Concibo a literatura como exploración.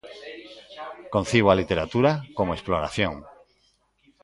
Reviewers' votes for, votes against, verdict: 0, 2, rejected